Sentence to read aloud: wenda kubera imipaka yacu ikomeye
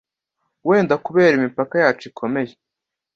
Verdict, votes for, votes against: accepted, 2, 0